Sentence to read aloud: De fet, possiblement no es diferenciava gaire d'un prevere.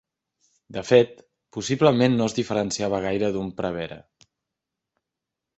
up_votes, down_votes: 2, 0